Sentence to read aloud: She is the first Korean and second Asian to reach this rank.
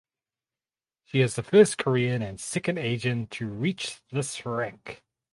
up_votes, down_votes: 2, 2